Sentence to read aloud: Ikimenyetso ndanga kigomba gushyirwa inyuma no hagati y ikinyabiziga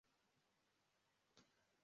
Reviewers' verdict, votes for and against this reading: rejected, 0, 2